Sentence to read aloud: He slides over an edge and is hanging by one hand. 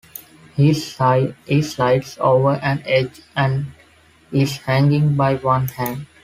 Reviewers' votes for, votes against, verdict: 0, 2, rejected